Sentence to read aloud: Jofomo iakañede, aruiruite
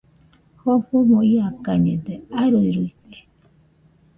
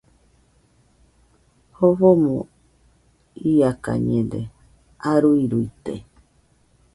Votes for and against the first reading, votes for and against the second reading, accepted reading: 1, 2, 2, 0, second